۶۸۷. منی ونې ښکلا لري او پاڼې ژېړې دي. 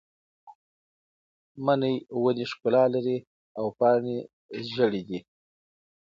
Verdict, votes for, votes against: rejected, 0, 2